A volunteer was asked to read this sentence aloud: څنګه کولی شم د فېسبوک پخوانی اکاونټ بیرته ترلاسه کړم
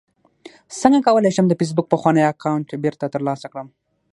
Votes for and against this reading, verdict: 0, 6, rejected